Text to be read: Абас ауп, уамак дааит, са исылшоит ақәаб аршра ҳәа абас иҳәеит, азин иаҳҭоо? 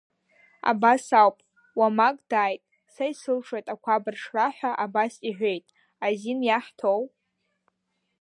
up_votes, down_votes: 0, 3